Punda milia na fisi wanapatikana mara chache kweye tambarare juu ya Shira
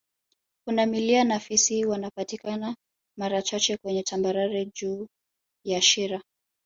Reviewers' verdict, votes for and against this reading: rejected, 0, 2